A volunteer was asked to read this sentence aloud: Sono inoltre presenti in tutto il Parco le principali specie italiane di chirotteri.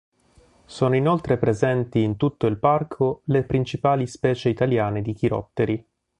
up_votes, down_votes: 3, 0